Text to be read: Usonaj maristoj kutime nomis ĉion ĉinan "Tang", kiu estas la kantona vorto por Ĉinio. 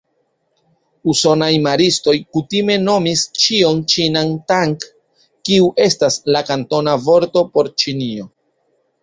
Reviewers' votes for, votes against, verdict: 2, 0, accepted